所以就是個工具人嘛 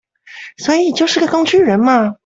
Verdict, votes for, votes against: accepted, 2, 0